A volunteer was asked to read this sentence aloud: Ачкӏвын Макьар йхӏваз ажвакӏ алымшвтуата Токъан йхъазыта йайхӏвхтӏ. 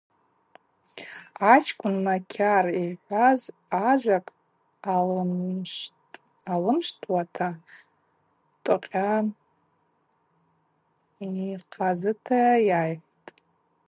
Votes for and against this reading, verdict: 0, 4, rejected